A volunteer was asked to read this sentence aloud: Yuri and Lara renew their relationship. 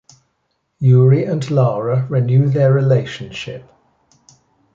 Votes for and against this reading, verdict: 2, 0, accepted